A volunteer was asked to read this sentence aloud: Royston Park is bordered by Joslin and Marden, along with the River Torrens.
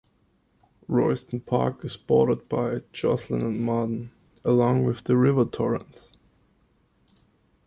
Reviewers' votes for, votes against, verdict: 2, 0, accepted